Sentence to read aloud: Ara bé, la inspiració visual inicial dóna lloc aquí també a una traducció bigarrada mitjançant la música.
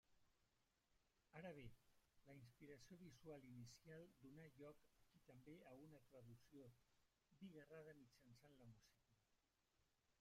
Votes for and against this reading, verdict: 0, 2, rejected